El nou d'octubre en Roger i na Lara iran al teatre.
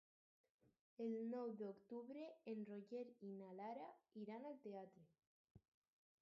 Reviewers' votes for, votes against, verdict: 2, 4, rejected